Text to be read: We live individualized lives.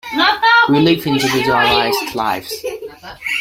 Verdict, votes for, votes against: rejected, 0, 2